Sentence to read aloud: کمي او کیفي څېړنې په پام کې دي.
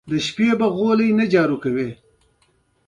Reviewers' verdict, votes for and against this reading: accepted, 2, 0